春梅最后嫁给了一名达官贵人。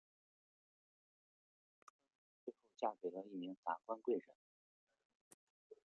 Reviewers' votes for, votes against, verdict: 0, 2, rejected